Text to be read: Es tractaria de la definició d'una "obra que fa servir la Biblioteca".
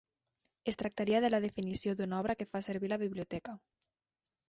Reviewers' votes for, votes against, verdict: 4, 0, accepted